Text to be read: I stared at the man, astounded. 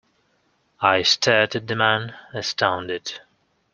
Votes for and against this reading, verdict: 2, 0, accepted